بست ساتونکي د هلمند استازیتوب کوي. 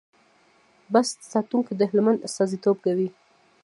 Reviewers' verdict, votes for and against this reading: accepted, 2, 0